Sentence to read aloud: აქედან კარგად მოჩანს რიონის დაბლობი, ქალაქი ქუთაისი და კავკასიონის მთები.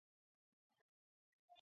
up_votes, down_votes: 0, 2